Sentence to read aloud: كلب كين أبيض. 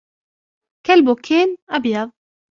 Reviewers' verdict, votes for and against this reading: rejected, 0, 2